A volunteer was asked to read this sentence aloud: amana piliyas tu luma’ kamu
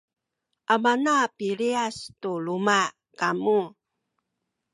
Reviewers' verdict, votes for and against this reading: accepted, 2, 0